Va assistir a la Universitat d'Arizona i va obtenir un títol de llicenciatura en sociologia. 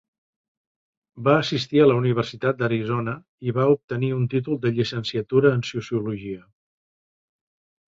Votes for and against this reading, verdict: 3, 0, accepted